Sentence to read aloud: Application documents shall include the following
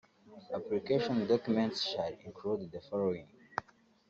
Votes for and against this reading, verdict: 1, 2, rejected